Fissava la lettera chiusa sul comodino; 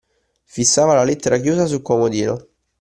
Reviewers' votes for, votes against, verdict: 2, 0, accepted